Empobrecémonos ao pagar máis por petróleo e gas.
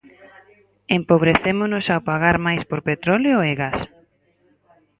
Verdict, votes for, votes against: rejected, 0, 4